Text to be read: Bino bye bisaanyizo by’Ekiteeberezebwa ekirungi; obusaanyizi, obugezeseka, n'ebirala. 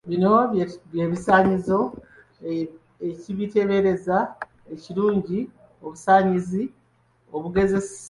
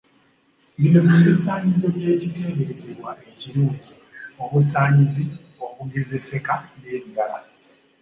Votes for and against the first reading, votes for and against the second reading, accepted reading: 0, 2, 2, 0, second